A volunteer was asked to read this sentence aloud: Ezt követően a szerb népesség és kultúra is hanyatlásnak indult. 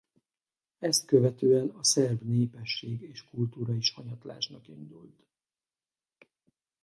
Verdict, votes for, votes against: rejected, 2, 2